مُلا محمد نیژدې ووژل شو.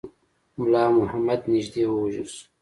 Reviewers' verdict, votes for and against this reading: accepted, 2, 0